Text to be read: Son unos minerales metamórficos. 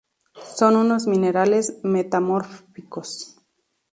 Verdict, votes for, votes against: accepted, 2, 0